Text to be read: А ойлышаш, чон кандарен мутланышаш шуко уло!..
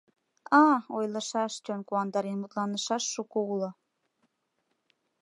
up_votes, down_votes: 1, 2